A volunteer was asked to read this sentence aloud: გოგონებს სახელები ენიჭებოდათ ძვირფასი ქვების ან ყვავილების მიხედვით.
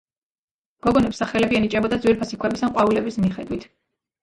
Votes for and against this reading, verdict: 1, 2, rejected